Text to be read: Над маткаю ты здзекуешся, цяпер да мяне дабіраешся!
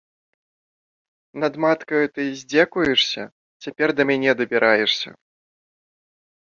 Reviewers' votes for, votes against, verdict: 2, 0, accepted